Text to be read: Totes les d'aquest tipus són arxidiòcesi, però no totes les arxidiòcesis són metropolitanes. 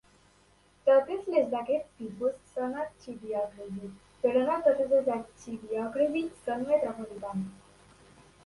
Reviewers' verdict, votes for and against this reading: rejected, 1, 2